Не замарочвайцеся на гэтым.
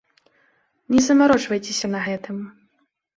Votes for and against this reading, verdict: 2, 0, accepted